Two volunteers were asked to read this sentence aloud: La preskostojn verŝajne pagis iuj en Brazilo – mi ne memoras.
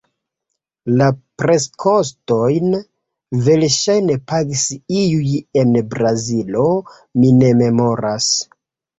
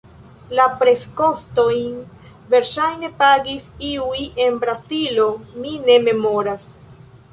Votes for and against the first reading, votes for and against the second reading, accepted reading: 2, 1, 1, 2, first